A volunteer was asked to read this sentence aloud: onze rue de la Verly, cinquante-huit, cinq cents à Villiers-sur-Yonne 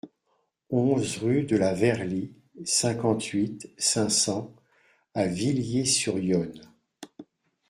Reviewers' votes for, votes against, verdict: 2, 0, accepted